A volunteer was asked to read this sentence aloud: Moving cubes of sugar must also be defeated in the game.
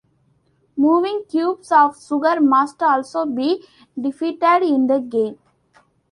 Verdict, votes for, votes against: rejected, 1, 2